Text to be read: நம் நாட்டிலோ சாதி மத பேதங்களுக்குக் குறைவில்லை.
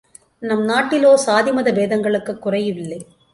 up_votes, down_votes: 1, 2